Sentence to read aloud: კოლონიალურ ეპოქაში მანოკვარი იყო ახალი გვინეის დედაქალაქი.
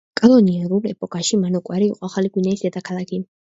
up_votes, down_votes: 1, 2